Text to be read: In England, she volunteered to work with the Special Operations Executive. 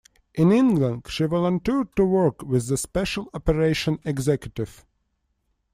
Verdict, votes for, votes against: rejected, 1, 2